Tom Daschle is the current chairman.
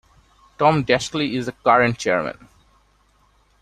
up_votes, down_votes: 0, 2